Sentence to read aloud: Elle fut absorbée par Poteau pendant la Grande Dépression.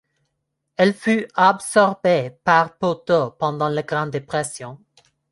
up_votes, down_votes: 1, 2